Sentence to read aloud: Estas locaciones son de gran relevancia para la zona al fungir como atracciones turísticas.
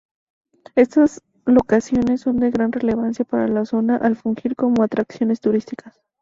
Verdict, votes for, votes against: rejected, 0, 2